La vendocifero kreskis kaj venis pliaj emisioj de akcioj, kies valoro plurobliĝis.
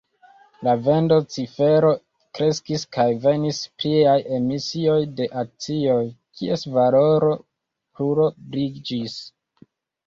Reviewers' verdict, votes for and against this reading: rejected, 1, 2